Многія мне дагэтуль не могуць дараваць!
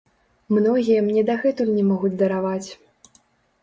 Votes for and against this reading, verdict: 0, 2, rejected